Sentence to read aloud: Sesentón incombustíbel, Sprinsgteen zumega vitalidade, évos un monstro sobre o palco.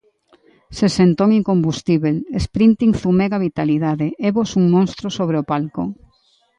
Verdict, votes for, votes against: accepted, 2, 0